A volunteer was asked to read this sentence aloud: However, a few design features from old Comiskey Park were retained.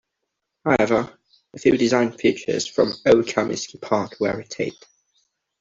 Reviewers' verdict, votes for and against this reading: accepted, 2, 0